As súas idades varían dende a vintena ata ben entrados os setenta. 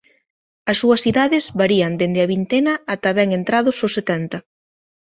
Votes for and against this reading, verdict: 2, 0, accepted